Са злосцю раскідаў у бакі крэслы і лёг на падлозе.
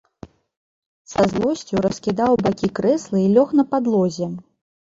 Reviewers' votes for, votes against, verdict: 0, 2, rejected